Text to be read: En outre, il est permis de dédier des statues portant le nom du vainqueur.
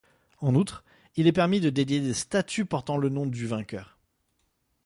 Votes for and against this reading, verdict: 2, 0, accepted